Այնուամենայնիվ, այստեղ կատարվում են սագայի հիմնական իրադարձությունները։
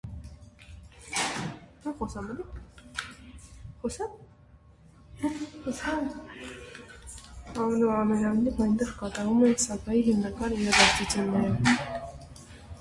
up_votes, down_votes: 0, 2